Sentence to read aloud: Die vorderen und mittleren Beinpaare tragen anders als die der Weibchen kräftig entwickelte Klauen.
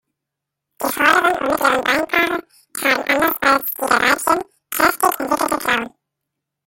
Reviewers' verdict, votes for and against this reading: rejected, 0, 2